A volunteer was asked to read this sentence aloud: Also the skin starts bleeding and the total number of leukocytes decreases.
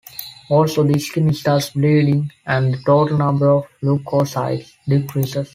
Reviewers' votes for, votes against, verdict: 3, 1, accepted